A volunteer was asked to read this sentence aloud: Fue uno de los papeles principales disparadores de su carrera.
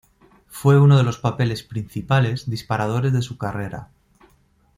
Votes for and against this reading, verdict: 3, 0, accepted